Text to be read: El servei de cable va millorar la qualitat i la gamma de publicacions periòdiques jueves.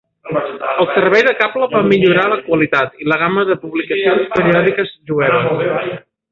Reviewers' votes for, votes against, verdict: 1, 4, rejected